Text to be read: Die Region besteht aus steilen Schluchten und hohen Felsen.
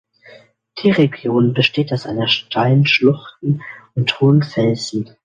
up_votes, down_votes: 0, 2